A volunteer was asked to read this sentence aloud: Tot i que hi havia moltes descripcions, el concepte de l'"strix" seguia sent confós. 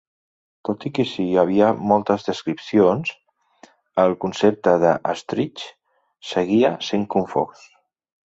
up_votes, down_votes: 1, 2